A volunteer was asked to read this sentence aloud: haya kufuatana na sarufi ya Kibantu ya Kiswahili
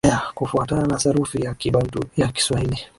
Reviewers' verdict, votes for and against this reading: accepted, 7, 4